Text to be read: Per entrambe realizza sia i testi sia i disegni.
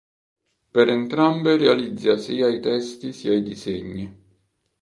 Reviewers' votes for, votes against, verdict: 1, 2, rejected